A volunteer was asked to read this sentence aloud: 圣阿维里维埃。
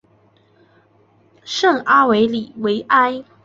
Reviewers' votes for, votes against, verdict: 2, 0, accepted